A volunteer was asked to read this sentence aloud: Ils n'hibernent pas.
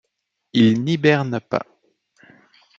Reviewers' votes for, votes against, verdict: 2, 0, accepted